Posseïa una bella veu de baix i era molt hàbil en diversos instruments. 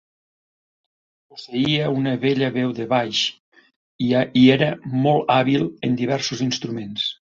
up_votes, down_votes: 0, 2